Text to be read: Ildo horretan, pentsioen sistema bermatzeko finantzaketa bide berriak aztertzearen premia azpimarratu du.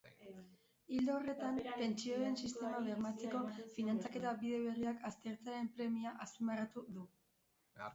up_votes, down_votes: 1, 2